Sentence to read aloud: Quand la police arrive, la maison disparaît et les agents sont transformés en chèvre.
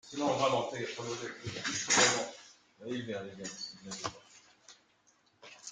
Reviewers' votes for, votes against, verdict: 0, 2, rejected